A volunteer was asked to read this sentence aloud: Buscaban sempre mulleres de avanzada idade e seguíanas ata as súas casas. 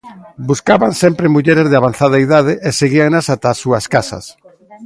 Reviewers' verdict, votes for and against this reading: rejected, 1, 2